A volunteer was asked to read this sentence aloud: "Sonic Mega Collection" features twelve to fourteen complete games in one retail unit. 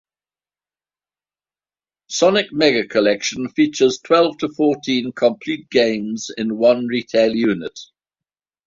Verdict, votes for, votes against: accepted, 2, 0